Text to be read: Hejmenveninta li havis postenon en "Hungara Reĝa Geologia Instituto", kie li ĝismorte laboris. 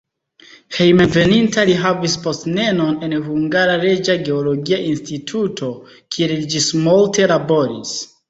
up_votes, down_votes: 0, 2